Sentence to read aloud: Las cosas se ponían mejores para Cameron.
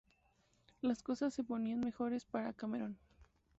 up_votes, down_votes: 2, 0